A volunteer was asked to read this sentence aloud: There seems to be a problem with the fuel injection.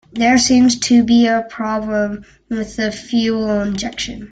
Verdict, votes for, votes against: accepted, 2, 0